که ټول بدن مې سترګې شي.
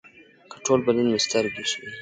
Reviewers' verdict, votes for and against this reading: rejected, 1, 2